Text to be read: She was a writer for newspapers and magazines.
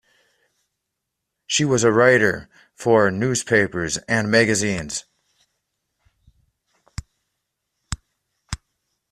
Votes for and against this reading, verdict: 2, 0, accepted